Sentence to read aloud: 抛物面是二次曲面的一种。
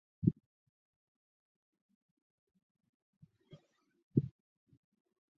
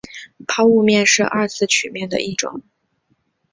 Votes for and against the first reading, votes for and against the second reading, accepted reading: 3, 6, 2, 0, second